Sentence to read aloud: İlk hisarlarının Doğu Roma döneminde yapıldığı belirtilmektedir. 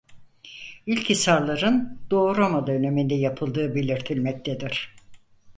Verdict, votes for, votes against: rejected, 2, 4